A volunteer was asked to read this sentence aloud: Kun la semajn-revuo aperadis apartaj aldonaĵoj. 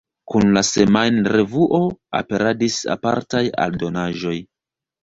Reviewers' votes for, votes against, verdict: 0, 2, rejected